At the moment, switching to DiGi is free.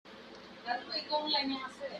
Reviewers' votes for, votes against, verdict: 0, 4, rejected